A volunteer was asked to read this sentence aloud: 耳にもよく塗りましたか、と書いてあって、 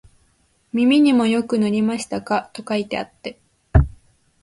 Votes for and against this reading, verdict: 3, 0, accepted